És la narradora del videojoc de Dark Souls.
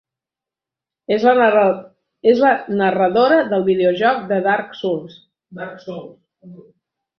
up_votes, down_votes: 0, 2